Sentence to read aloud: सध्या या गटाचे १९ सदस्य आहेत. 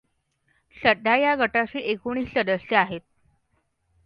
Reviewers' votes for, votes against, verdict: 0, 2, rejected